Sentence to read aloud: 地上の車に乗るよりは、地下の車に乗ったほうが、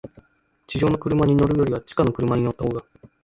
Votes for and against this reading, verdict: 0, 2, rejected